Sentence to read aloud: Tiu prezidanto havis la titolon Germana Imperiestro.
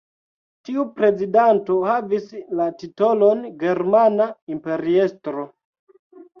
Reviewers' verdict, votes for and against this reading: accepted, 2, 0